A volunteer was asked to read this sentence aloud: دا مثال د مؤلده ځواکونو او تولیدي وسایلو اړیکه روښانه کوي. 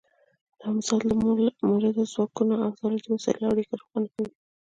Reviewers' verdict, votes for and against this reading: rejected, 0, 2